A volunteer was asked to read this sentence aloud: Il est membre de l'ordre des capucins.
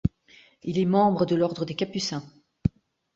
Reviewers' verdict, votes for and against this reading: accepted, 3, 0